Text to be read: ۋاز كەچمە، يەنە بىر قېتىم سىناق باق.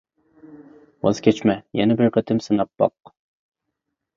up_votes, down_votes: 2, 0